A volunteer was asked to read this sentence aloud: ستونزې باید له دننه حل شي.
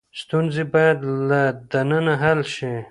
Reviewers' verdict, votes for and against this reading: rejected, 0, 2